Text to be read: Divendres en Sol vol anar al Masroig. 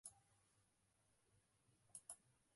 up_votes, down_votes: 1, 2